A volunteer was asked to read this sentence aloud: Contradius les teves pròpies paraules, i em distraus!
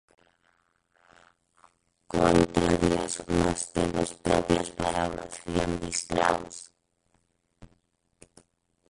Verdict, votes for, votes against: rejected, 0, 6